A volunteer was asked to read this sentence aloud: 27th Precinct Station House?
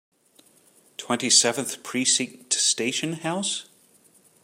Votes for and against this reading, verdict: 0, 2, rejected